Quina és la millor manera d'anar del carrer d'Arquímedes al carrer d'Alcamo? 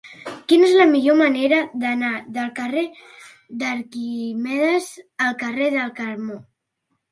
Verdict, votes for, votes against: rejected, 1, 2